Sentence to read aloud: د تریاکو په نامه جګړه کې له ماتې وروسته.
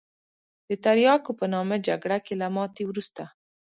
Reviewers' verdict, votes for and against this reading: accepted, 2, 0